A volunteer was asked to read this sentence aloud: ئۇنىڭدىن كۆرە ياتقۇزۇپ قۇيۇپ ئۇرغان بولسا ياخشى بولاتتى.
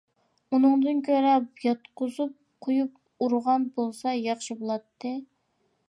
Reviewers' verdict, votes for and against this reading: accepted, 2, 0